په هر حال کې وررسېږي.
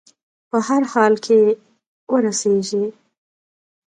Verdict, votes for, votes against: rejected, 0, 2